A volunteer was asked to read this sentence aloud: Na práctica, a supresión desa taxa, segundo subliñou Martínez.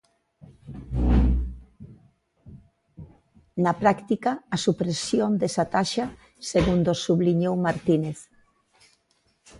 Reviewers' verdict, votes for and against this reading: accepted, 2, 0